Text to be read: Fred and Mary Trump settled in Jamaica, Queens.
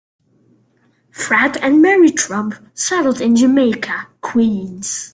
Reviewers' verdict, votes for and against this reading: accepted, 2, 0